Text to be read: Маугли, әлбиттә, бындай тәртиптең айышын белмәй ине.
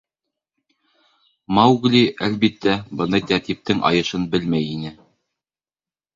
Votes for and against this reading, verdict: 2, 0, accepted